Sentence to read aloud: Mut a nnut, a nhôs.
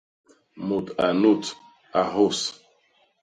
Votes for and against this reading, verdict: 0, 2, rejected